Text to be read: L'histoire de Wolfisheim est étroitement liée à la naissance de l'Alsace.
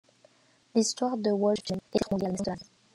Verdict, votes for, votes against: rejected, 0, 2